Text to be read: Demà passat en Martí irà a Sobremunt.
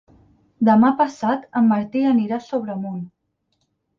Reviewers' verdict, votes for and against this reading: rejected, 2, 4